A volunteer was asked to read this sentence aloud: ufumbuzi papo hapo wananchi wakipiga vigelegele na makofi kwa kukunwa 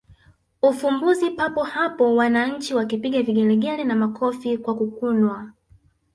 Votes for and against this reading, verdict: 3, 1, accepted